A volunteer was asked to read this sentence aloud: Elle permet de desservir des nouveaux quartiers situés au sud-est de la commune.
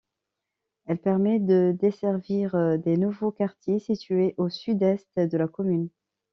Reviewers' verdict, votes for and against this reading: accepted, 2, 0